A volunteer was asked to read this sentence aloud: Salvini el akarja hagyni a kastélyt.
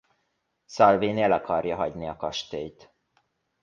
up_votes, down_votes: 2, 0